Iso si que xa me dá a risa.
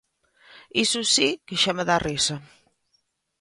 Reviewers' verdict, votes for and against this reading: accepted, 2, 0